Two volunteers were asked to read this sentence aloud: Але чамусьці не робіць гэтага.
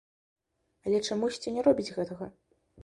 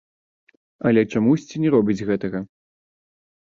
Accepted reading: first